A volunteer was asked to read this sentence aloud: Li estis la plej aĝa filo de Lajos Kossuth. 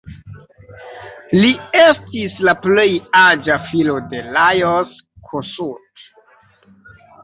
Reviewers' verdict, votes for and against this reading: rejected, 2, 3